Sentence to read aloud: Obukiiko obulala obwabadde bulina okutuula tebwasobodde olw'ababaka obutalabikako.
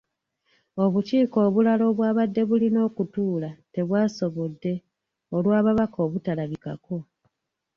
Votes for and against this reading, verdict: 2, 0, accepted